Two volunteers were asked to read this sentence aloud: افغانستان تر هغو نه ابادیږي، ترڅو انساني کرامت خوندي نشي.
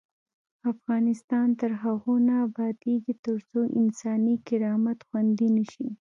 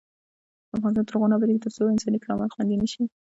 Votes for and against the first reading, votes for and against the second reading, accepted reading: 0, 2, 2, 1, second